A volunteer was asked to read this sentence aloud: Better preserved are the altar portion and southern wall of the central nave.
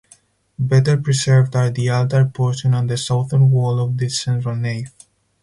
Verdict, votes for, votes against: accepted, 4, 0